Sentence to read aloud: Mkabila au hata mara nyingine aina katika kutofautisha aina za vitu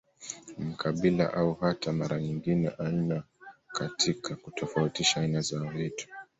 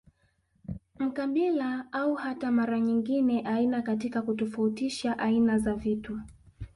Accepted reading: second